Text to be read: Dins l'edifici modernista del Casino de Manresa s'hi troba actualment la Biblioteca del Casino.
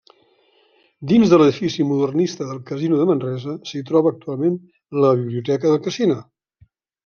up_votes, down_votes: 1, 2